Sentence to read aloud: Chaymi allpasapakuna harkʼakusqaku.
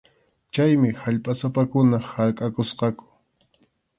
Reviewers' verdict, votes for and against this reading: accepted, 2, 0